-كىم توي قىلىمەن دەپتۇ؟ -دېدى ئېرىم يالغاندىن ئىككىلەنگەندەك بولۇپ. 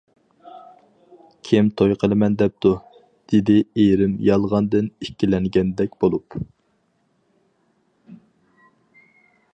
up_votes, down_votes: 4, 0